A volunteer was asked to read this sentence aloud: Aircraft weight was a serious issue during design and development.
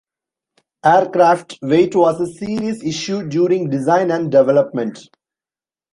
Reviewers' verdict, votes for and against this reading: accepted, 2, 0